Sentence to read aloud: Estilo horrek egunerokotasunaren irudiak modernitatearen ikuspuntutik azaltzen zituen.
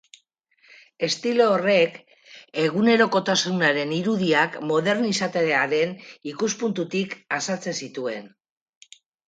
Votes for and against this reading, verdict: 2, 4, rejected